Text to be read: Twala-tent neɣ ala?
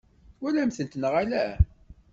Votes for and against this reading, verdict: 1, 2, rejected